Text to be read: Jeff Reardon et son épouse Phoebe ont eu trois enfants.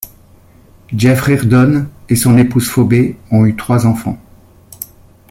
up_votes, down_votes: 2, 0